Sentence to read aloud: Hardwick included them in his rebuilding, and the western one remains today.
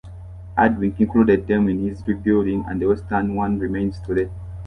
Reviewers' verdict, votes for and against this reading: accepted, 2, 0